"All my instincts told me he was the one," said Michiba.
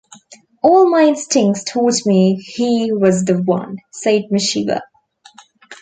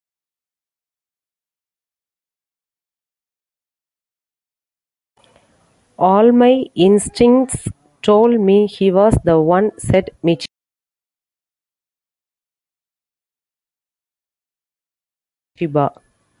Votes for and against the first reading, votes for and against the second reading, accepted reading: 2, 1, 0, 2, first